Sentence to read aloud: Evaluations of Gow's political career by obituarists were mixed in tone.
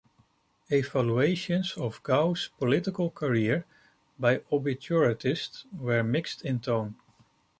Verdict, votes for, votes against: rejected, 1, 2